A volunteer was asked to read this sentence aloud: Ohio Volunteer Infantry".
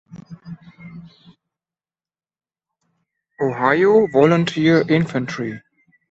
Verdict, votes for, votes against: accepted, 2, 0